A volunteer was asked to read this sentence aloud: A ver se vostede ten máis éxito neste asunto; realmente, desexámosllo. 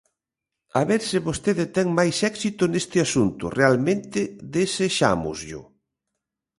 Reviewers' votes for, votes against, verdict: 2, 0, accepted